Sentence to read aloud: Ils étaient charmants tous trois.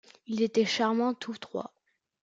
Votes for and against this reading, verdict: 0, 2, rejected